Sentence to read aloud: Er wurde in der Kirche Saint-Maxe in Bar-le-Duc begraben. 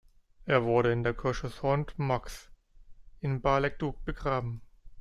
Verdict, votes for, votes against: accepted, 2, 1